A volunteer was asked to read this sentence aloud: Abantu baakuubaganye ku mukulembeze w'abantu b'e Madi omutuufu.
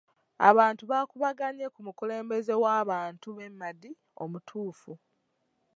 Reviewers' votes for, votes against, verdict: 2, 0, accepted